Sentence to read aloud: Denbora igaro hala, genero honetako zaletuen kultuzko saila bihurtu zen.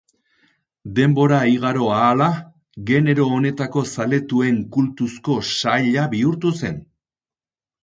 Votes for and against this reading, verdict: 4, 0, accepted